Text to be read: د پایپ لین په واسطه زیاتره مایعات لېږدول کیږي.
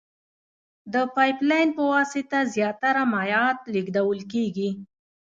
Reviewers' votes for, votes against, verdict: 1, 2, rejected